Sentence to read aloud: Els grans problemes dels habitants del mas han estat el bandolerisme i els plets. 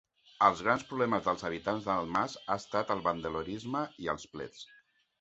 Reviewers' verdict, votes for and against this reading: rejected, 1, 2